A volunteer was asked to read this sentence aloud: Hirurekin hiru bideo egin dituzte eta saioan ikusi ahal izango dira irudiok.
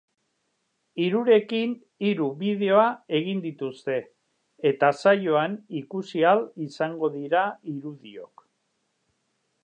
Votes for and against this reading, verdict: 1, 3, rejected